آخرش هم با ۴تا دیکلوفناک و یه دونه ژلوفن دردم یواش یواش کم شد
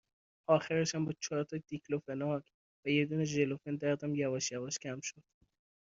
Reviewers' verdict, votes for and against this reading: rejected, 0, 2